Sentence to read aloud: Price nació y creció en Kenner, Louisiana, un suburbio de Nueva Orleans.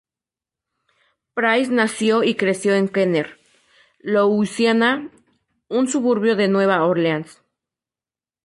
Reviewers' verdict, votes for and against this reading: accepted, 2, 0